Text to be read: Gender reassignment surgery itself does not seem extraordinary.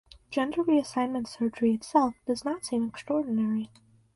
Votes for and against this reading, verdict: 2, 2, rejected